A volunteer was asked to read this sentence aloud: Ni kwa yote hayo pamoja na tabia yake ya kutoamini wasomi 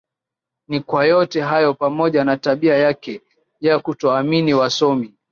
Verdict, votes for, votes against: rejected, 0, 2